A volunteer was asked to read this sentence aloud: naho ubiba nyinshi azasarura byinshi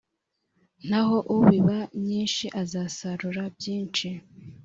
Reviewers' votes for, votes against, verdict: 2, 0, accepted